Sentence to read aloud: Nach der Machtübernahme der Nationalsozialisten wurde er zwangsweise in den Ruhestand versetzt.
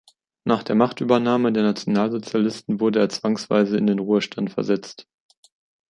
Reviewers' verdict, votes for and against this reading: accepted, 2, 0